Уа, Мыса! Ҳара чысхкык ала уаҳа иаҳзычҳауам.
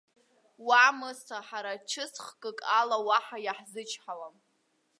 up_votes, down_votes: 2, 1